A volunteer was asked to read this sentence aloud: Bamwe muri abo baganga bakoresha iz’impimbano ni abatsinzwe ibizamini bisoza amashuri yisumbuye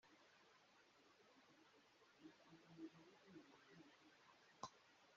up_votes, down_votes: 0, 2